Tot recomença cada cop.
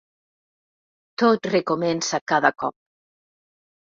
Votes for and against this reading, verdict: 2, 0, accepted